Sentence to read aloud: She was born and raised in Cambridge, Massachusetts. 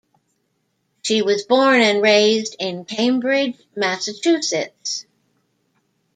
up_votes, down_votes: 1, 2